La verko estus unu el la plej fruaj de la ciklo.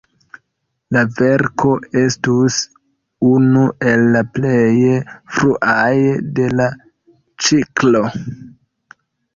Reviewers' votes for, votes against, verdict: 1, 2, rejected